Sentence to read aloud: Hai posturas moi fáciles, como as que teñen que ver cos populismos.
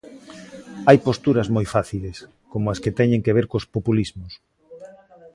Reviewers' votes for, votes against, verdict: 1, 2, rejected